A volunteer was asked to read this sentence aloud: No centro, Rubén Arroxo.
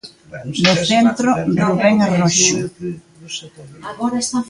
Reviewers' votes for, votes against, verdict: 0, 2, rejected